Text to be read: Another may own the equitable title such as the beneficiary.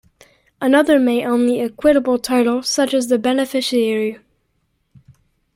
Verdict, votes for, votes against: rejected, 0, 2